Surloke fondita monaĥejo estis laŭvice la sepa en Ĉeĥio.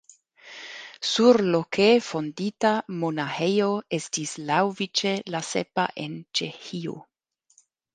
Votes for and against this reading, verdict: 0, 2, rejected